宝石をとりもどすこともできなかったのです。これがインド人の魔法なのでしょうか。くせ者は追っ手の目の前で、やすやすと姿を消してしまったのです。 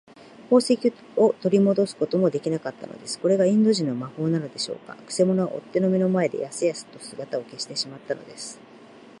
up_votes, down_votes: 0, 2